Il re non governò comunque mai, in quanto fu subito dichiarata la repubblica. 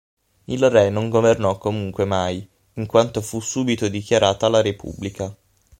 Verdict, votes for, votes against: accepted, 9, 0